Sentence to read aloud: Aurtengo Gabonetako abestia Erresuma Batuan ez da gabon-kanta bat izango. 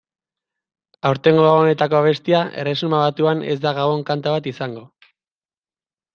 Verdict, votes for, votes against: accepted, 2, 0